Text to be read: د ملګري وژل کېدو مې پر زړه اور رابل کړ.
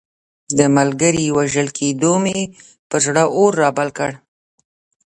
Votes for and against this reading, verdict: 1, 2, rejected